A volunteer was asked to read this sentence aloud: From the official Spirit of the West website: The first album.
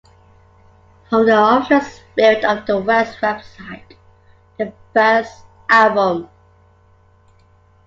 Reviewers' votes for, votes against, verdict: 0, 3, rejected